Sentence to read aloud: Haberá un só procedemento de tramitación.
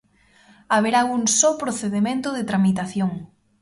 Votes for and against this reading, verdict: 2, 0, accepted